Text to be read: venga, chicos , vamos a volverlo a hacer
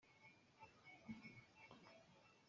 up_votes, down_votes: 0, 2